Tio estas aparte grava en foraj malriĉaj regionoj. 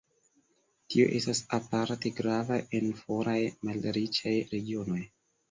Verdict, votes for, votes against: accepted, 2, 0